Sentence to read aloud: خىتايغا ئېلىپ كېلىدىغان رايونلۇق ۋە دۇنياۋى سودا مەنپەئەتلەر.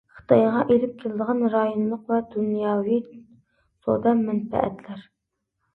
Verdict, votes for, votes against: accepted, 2, 0